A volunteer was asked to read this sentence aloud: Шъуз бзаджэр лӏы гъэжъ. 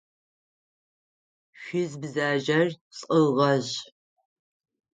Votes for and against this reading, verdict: 3, 6, rejected